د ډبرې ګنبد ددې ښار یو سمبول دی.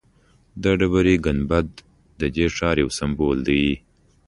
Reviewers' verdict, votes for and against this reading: accepted, 2, 0